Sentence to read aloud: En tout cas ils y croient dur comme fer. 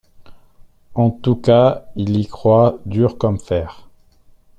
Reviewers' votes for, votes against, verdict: 2, 1, accepted